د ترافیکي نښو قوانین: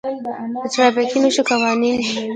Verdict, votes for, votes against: rejected, 1, 2